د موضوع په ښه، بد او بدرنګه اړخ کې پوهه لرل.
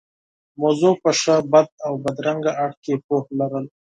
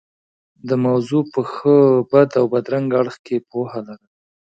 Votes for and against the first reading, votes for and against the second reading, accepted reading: 2, 4, 2, 0, second